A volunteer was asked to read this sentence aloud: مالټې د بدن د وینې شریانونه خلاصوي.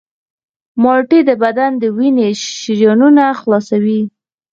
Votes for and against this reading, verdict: 2, 4, rejected